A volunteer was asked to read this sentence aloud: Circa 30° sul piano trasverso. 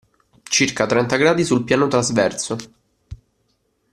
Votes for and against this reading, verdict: 0, 2, rejected